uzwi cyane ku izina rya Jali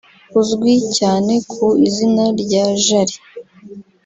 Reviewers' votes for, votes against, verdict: 1, 2, rejected